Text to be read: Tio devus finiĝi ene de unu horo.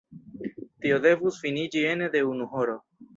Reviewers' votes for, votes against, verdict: 1, 2, rejected